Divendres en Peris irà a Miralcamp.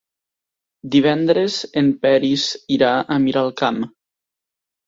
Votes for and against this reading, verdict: 3, 0, accepted